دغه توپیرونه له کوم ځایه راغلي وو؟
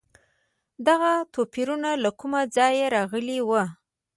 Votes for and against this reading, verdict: 1, 2, rejected